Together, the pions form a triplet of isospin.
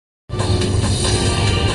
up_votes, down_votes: 0, 2